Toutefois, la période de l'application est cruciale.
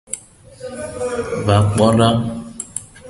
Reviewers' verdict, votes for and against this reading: rejected, 1, 2